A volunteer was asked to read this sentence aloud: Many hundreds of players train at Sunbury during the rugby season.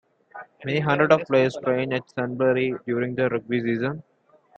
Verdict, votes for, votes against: accepted, 2, 0